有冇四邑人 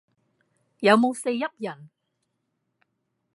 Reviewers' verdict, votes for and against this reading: accepted, 2, 0